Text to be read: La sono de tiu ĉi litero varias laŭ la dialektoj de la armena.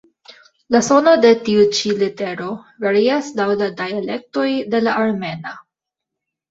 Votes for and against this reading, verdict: 2, 1, accepted